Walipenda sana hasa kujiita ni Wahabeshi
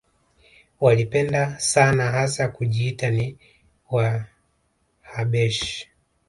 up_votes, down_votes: 2, 1